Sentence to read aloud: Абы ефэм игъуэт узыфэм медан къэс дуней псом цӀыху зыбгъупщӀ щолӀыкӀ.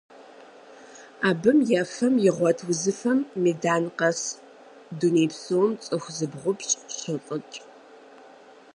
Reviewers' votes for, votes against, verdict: 0, 4, rejected